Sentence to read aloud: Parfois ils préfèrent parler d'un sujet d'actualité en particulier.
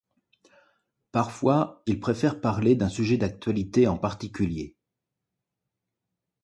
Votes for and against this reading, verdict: 2, 0, accepted